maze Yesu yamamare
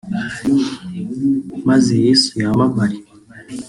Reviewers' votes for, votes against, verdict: 2, 0, accepted